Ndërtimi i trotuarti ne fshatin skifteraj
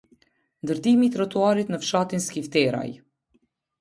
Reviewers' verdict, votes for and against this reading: rejected, 1, 2